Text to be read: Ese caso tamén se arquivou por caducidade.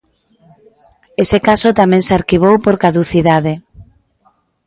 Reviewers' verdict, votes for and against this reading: accepted, 2, 0